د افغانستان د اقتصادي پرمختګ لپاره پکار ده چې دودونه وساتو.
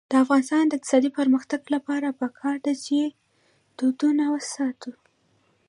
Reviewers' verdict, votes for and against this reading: rejected, 1, 2